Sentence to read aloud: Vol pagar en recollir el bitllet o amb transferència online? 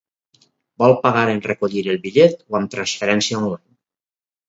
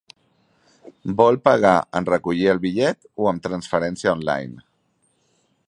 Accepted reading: second